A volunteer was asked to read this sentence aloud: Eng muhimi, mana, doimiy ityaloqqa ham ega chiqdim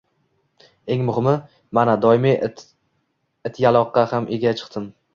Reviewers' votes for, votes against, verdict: 2, 0, accepted